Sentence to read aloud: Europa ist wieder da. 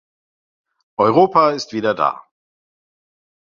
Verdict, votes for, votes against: accepted, 2, 0